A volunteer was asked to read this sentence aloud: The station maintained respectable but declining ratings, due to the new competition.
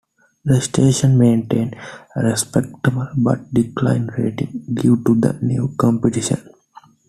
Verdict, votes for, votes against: accepted, 2, 0